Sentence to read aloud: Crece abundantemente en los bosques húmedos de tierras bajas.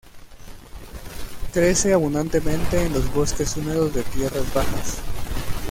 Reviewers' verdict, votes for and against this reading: rejected, 1, 2